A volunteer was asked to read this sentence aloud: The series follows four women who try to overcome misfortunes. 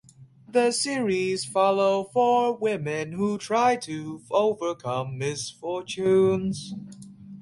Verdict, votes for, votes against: rejected, 0, 2